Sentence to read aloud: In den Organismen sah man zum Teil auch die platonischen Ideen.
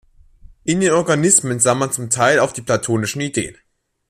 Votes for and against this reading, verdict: 0, 2, rejected